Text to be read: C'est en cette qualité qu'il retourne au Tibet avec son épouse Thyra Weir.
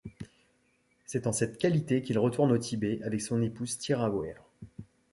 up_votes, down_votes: 2, 0